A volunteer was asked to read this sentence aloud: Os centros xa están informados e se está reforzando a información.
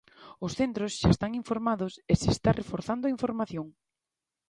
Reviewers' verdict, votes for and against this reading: accepted, 2, 0